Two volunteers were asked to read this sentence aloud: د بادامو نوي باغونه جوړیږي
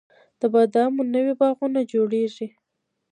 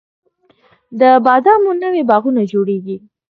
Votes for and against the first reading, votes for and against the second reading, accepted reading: 0, 2, 2, 1, second